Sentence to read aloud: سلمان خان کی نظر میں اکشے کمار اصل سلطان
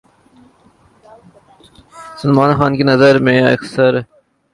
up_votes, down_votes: 0, 2